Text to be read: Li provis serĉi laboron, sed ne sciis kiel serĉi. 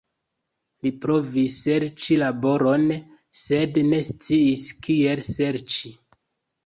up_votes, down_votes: 3, 1